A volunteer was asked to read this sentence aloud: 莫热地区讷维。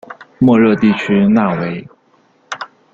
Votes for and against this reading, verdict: 1, 2, rejected